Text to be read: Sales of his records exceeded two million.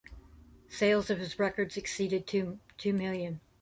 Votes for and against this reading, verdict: 2, 1, accepted